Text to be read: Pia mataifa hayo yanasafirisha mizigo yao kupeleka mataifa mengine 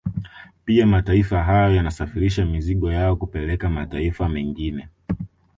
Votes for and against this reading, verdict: 2, 0, accepted